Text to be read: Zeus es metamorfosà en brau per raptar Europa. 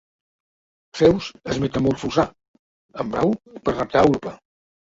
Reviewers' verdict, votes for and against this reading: rejected, 0, 2